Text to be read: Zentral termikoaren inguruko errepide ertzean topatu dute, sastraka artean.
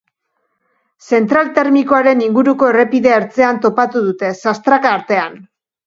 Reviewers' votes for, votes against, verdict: 2, 0, accepted